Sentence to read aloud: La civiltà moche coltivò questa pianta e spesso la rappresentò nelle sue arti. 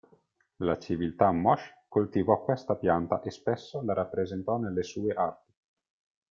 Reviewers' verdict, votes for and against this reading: rejected, 0, 2